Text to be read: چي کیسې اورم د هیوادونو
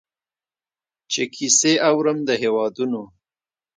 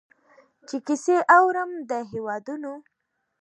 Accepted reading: second